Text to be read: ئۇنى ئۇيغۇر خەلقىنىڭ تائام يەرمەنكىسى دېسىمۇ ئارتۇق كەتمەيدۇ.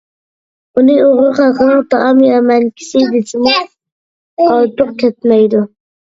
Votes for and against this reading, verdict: 0, 2, rejected